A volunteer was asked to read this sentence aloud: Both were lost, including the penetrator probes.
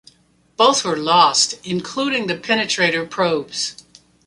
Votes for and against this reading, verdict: 2, 0, accepted